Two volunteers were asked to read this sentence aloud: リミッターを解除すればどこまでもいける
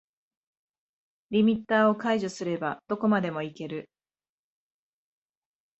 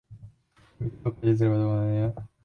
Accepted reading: first